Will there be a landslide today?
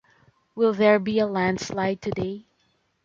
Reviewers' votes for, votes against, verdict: 2, 0, accepted